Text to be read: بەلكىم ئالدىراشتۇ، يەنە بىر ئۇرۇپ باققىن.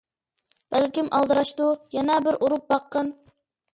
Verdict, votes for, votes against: accepted, 2, 0